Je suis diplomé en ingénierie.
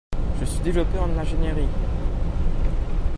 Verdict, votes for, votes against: rejected, 0, 2